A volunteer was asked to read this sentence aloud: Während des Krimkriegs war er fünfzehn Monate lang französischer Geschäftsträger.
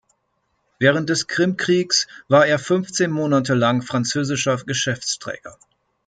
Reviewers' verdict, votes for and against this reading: accepted, 2, 1